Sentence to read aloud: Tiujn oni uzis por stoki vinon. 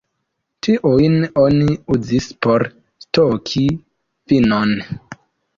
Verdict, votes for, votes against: accepted, 2, 0